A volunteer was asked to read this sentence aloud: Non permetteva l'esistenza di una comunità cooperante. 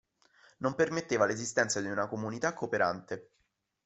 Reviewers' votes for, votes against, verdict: 2, 0, accepted